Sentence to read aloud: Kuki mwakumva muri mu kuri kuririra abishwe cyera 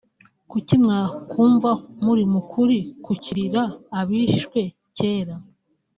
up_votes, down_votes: 1, 3